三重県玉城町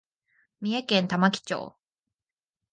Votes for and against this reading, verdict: 2, 0, accepted